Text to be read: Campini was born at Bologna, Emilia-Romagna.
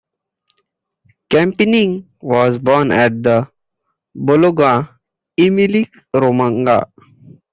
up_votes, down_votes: 1, 2